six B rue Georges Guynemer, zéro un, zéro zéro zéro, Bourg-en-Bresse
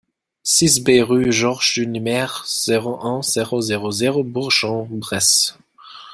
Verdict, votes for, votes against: rejected, 1, 2